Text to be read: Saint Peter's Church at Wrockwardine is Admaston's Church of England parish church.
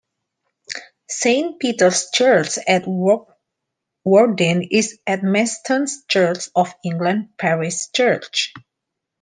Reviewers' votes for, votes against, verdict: 2, 1, accepted